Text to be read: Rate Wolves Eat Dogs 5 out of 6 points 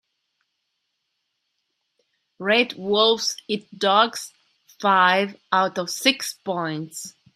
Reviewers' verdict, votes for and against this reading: rejected, 0, 2